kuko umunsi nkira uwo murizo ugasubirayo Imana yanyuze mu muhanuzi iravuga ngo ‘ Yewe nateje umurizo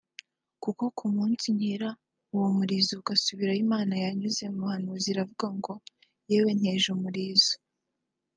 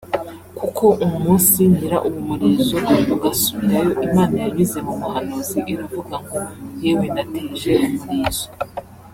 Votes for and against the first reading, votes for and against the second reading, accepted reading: 0, 2, 3, 0, second